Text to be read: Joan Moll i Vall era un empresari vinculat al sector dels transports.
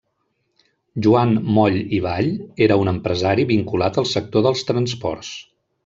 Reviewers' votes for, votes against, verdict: 1, 2, rejected